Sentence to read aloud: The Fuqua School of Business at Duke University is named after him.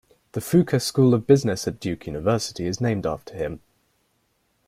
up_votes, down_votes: 2, 0